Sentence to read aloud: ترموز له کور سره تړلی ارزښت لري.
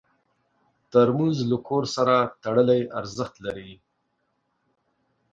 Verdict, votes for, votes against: accepted, 2, 0